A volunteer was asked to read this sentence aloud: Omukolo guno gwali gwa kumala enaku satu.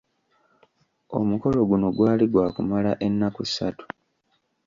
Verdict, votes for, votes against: rejected, 0, 2